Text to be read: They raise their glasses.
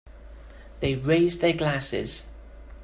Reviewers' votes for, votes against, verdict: 3, 0, accepted